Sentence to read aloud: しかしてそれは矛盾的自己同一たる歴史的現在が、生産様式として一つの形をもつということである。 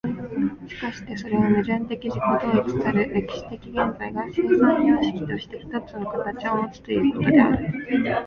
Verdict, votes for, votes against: accepted, 2, 0